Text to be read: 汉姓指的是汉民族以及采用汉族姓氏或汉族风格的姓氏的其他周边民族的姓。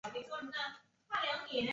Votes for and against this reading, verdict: 0, 2, rejected